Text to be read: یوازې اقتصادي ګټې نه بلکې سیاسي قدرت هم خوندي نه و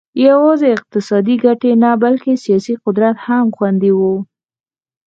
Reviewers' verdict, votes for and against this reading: accepted, 4, 0